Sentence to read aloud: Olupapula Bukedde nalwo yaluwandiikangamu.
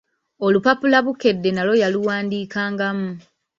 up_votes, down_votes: 2, 0